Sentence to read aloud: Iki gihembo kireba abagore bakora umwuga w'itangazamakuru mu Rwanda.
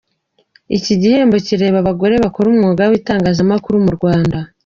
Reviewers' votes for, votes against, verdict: 2, 0, accepted